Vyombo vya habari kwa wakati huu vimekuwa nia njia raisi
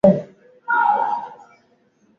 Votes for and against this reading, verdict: 0, 6, rejected